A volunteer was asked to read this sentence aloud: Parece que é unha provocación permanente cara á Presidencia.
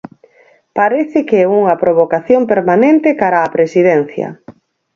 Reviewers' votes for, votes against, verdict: 6, 0, accepted